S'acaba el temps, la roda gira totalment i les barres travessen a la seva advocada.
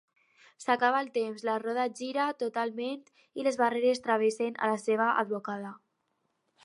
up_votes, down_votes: 0, 4